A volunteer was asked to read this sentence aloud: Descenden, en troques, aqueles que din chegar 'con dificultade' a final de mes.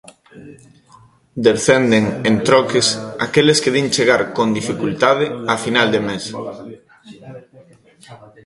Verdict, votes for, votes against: accepted, 2, 0